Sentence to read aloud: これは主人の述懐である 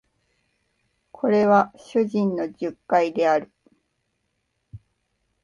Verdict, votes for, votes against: rejected, 1, 2